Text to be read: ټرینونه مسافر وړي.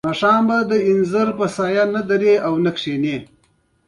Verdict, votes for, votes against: accepted, 2, 0